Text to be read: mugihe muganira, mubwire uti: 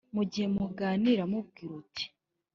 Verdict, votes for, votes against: accepted, 3, 0